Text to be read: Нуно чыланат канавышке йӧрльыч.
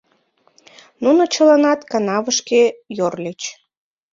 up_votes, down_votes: 0, 2